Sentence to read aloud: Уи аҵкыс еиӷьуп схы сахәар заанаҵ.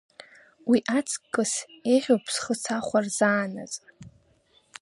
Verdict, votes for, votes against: accepted, 2, 0